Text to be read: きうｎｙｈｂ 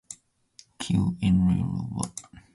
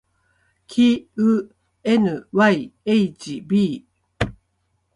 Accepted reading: second